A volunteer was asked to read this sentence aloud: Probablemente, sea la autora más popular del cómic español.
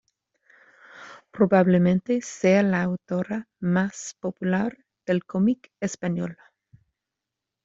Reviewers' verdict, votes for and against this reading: rejected, 0, 2